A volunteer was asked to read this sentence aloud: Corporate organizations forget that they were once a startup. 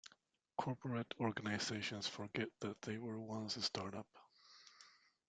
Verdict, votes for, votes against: accepted, 2, 0